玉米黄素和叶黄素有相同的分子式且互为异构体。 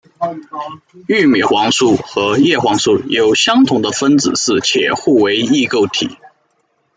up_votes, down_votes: 1, 2